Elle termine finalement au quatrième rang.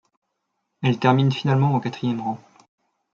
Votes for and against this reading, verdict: 2, 0, accepted